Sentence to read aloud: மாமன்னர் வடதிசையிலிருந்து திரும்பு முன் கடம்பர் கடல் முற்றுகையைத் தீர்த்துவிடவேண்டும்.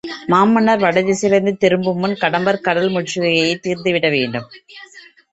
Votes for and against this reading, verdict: 2, 0, accepted